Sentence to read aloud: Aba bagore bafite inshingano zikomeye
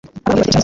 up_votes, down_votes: 0, 2